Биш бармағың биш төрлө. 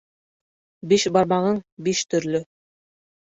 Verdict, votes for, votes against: accepted, 3, 0